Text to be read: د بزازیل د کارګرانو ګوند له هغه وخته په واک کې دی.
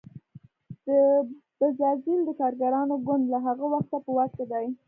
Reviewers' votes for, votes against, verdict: 2, 1, accepted